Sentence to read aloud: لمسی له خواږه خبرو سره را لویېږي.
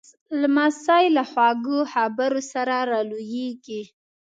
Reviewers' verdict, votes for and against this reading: rejected, 1, 2